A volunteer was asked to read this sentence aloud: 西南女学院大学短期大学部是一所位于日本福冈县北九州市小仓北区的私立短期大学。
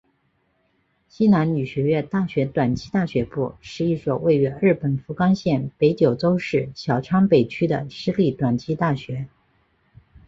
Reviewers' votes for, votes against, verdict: 2, 1, accepted